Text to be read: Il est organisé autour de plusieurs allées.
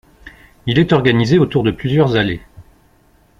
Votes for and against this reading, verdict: 2, 0, accepted